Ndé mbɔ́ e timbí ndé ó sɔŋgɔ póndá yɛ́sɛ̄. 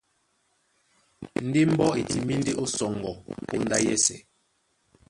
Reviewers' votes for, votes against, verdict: 1, 2, rejected